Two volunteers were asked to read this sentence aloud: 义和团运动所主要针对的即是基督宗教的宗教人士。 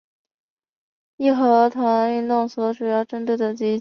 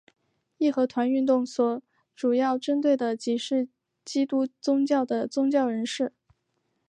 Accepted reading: second